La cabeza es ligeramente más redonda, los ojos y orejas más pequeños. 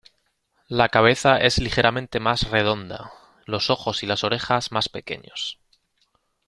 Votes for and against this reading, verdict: 2, 1, accepted